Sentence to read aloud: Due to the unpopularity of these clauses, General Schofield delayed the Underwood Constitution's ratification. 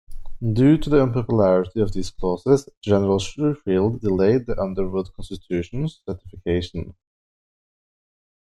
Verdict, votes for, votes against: rejected, 0, 2